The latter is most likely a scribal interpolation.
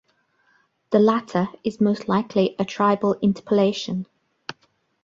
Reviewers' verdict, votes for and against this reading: accepted, 2, 1